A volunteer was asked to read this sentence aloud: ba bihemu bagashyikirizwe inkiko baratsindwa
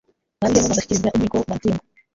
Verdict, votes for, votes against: rejected, 0, 2